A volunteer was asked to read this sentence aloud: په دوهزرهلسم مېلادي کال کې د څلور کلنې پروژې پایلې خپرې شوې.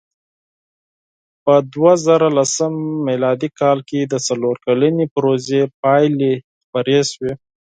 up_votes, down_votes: 4, 0